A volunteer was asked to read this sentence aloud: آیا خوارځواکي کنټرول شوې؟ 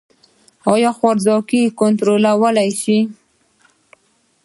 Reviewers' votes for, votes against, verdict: 2, 1, accepted